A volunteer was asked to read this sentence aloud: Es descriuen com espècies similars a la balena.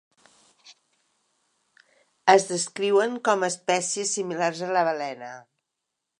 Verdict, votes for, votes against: accepted, 3, 0